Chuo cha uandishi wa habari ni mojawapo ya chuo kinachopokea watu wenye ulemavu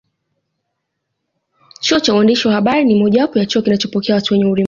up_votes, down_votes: 1, 2